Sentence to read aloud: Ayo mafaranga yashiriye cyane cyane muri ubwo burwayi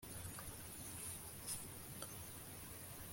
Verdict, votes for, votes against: rejected, 0, 2